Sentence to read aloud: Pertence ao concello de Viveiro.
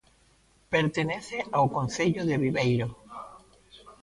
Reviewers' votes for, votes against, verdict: 0, 2, rejected